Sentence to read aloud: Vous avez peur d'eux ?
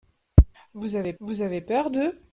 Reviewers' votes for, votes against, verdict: 1, 2, rejected